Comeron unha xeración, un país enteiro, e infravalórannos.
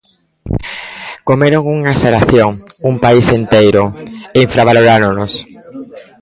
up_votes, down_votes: 1, 2